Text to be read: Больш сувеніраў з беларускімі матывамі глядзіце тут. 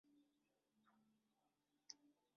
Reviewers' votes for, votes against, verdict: 0, 2, rejected